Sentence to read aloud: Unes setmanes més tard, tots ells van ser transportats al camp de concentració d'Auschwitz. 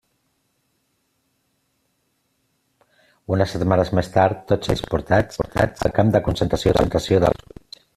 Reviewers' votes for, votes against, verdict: 0, 2, rejected